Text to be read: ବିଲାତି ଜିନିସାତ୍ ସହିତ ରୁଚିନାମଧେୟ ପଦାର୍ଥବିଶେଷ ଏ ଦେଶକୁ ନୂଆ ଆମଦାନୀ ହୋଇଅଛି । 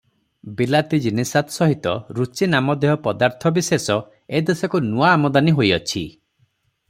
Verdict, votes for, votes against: accepted, 3, 0